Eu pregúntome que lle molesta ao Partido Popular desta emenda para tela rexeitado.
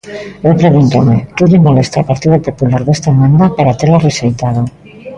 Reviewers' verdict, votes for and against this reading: rejected, 0, 2